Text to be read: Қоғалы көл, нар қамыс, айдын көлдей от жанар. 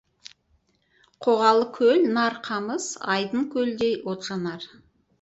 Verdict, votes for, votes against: rejected, 0, 2